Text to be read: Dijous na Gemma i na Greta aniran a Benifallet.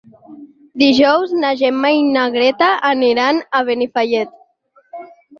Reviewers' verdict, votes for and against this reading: accepted, 6, 2